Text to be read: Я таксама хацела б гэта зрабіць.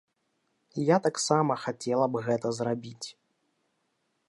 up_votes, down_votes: 2, 0